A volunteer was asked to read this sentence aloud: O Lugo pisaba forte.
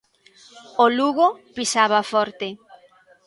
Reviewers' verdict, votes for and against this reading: accepted, 2, 1